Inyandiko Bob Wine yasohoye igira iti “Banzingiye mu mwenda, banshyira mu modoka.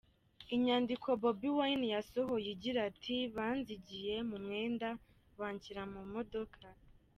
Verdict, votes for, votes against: rejected, 1, 2